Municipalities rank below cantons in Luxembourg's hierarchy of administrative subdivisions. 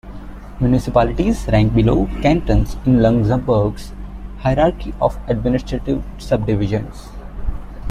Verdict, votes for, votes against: accepted, 2, 0